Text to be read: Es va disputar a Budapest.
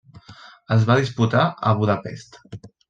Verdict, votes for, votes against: accepted, 3, 0